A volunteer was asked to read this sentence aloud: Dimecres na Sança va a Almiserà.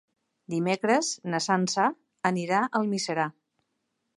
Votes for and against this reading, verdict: 0, 2, rejected